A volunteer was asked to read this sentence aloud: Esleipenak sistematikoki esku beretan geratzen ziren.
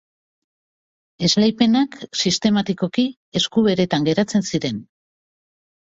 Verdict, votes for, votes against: accepted, 7, 0